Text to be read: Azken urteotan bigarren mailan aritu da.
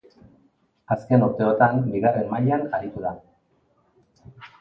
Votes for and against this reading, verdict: 3, 0, accepted